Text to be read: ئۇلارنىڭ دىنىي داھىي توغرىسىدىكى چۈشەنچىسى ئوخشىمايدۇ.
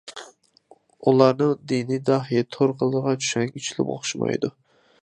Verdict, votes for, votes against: rejected, 0, 2